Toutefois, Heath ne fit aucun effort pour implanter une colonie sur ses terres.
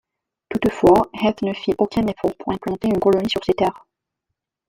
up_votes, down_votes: 1, 2